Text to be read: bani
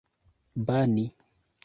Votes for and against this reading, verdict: 2, 0, accepted